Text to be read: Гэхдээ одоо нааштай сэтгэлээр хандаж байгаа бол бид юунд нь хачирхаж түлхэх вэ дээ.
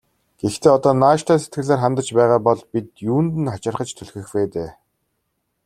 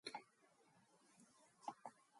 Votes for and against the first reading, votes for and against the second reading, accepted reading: 2, 0, 0, 2, first